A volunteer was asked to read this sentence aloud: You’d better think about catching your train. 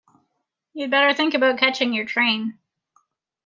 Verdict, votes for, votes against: accepted, 2, 0